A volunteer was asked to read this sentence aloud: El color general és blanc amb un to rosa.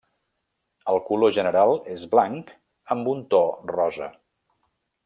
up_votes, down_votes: 3, 0